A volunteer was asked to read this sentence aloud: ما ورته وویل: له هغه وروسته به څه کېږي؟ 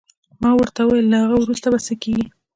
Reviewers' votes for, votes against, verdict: 2, 0, accepted